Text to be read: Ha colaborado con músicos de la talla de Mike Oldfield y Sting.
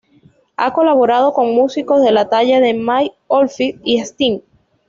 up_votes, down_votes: 2, 0